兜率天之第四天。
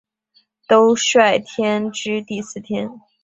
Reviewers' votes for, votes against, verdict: 4, 0, accepted